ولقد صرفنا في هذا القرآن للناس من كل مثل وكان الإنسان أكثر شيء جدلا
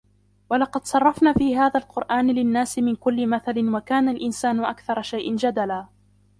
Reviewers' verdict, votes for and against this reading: accepted, 2, 0